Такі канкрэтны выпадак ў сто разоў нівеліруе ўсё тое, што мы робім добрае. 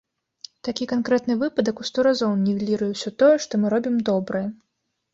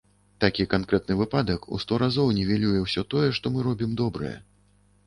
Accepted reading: first